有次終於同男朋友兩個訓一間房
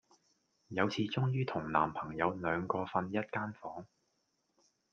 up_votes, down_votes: 2, 0